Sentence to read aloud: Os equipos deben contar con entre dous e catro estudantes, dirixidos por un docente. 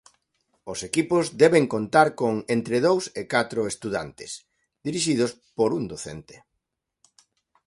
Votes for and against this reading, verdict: 2, 0, accepted